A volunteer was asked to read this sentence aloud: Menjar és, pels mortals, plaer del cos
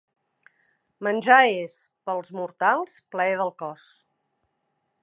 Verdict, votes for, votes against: accepted, 2, 0